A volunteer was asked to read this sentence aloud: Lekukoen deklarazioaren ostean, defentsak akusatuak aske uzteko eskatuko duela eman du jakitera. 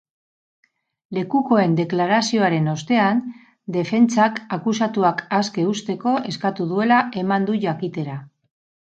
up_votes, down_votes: 2, 2